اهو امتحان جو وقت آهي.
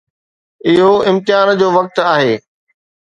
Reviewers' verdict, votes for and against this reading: accepted, 2, 0